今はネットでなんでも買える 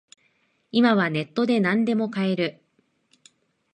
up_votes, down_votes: 2, 1